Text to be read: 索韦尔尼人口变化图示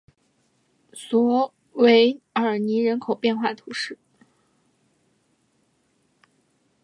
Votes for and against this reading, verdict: 2, 0, accepted